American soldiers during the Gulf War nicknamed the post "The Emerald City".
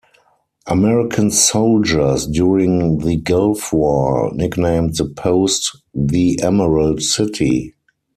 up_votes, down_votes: 4, 0